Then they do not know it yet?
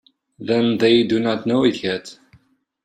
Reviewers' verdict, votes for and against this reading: accepted, 2, 0